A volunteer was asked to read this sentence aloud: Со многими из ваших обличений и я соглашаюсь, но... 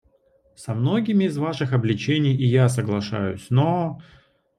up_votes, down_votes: 2, 0